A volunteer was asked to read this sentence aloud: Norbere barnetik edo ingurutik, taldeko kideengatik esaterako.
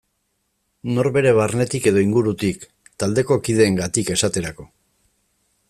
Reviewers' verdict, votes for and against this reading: accepted, 3, 0